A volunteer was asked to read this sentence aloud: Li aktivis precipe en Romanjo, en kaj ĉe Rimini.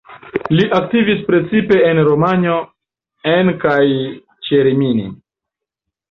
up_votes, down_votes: 2, 0